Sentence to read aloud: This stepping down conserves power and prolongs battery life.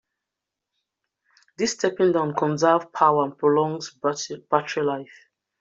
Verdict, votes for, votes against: rejected, 0, 2